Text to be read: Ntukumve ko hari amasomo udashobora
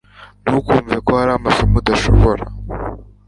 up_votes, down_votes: 2, 0